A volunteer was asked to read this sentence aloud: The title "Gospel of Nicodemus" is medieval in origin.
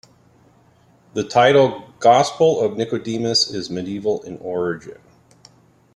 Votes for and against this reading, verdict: 2, 0, accepted